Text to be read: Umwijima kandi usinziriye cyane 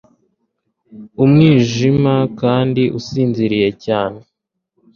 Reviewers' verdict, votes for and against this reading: accepted, 2, 0